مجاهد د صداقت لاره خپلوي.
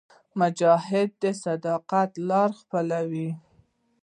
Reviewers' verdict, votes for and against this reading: accepted, 2, 0